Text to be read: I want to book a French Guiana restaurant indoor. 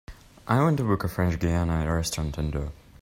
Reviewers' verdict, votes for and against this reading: accepted, 2, 0